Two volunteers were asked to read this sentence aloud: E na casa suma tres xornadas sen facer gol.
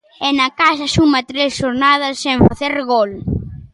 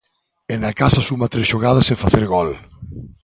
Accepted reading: first